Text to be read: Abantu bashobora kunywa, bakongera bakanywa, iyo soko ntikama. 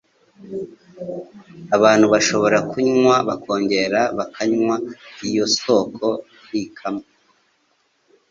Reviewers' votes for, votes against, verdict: 4, 0, accepted